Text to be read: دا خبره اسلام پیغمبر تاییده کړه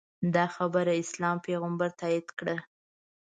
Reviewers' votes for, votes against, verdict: 2, 0, accepted